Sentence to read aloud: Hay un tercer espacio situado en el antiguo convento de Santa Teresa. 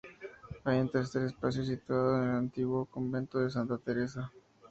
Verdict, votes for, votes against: accepted, 2, 0